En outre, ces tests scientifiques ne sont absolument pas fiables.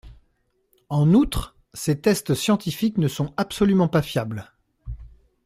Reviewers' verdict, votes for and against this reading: accepted, 2, 0